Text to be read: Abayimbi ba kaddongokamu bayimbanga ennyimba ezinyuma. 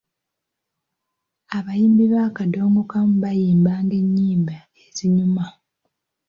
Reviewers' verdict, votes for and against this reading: accepted, 3, 2